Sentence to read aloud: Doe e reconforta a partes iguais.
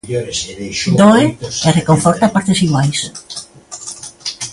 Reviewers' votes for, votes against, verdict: 1, 2, rejected